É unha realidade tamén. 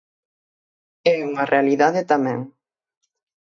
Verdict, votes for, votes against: accepted, 6, 0